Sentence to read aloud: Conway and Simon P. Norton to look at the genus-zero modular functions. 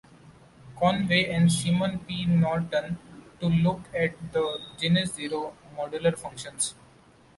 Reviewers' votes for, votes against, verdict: 1, 2, rejected